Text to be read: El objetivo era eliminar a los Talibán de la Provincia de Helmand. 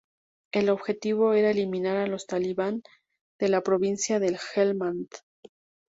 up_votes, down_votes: 2, 0